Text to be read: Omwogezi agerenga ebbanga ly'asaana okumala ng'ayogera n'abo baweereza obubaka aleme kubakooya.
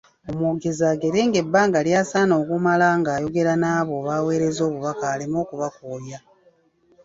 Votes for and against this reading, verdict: 0, 2, rejected